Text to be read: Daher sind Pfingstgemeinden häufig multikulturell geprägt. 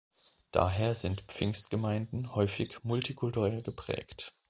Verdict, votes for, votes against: accepted, 3, 0